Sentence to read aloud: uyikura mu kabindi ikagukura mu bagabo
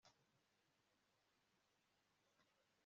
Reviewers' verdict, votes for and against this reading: rejected, 0, 2